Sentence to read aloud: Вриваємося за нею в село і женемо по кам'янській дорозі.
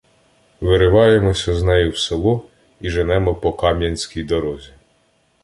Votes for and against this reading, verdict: 0, 2, rejected